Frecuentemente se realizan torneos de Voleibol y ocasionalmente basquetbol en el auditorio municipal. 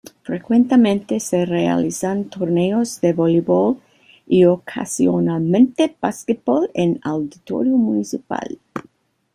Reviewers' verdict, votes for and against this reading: rejected, 1, 2